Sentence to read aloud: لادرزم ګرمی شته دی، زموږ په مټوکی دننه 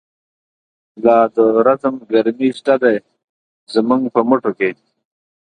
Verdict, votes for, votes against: rejected, 1, 2